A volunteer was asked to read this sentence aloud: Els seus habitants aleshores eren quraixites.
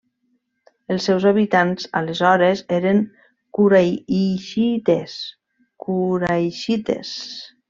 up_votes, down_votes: 1, 2